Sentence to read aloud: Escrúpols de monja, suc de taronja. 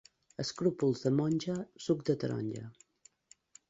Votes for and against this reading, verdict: 2, 0, accepted